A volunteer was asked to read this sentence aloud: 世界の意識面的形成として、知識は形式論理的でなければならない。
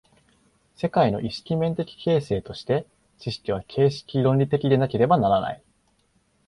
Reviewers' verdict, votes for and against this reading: accepted, 2, 0